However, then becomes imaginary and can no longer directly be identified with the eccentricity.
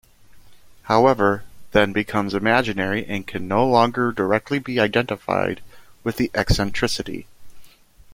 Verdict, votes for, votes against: accepted, 2, 0